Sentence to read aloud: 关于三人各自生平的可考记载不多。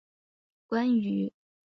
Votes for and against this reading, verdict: 1, 7, rejected